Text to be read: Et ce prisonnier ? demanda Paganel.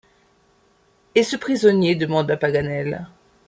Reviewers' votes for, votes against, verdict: 2, 0, accepted